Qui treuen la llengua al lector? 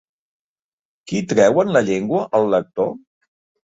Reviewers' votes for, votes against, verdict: 4, 0, accepted